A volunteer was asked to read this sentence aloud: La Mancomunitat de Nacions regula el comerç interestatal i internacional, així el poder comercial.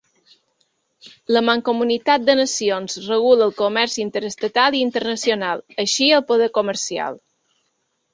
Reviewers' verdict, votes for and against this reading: accepted, 2, 0